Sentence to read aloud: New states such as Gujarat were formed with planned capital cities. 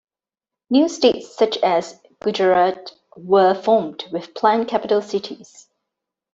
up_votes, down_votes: 2, 0